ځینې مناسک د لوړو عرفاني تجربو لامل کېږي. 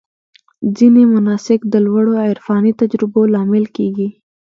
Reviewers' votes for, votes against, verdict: 2, 0, accepted